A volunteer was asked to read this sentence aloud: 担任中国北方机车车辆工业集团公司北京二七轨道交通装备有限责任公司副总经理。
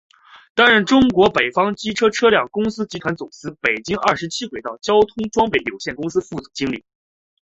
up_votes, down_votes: 2, 0